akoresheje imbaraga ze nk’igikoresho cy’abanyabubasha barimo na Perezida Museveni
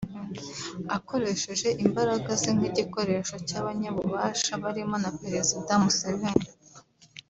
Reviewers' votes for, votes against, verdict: 1, 3, rejected